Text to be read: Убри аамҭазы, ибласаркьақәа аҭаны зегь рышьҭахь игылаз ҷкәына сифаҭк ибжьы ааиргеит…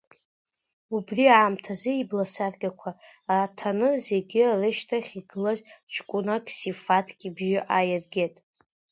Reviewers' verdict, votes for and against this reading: rejected, 1, 2